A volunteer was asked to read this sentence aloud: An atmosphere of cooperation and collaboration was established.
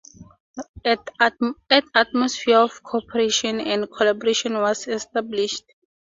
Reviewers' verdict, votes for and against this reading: accepted, 2, 0